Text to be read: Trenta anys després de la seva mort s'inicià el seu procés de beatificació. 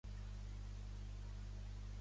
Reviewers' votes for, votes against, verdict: 0, 2, rejected